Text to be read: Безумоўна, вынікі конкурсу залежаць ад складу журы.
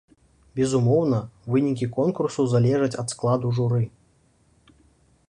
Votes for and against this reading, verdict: 2, 0, accepted